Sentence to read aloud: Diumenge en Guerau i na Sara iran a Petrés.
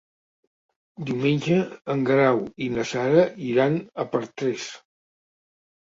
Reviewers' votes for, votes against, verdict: 0, 2, rejected